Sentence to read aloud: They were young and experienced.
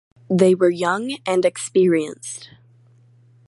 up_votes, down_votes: 4, 0